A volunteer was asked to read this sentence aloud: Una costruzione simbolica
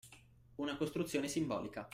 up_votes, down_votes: 2, 0